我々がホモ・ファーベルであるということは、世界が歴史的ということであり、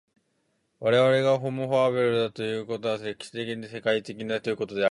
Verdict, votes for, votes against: rejected, 0, 2